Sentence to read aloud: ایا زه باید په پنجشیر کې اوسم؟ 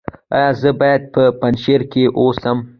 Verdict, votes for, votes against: accepted, 2, 0